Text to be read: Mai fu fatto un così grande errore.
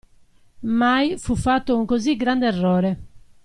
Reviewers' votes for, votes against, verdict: 2, 0, accepted